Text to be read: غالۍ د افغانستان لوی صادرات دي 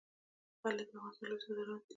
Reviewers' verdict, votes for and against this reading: accepted, 2, 1